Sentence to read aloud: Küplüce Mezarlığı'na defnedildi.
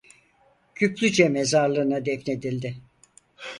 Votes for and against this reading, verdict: 4, 0, accepted